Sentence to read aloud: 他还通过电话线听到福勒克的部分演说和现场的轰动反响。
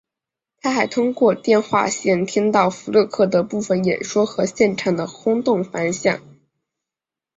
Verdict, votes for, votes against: rejected, 1, 2